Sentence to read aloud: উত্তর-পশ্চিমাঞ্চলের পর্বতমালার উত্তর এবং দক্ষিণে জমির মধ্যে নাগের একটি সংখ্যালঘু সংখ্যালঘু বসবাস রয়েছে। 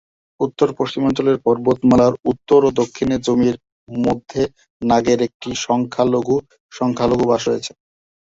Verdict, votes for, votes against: rejected, 0, 2